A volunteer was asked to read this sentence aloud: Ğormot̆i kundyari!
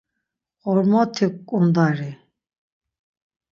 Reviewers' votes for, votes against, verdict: 3, 6, rejected